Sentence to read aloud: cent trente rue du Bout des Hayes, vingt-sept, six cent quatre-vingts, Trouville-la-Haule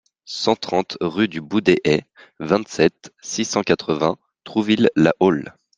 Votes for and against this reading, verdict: 2, 0, accepted